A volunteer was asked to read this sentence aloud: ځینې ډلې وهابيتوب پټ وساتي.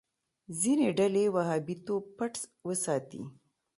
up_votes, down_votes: 2, 0